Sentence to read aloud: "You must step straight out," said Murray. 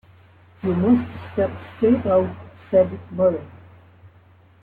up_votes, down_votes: 0, 2